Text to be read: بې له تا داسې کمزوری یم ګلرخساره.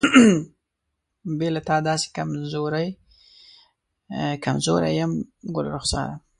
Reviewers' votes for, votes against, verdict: 1, 2, rejected